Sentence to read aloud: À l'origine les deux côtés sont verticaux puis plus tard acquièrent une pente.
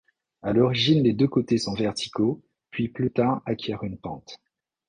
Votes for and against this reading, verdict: 2, 0, accepted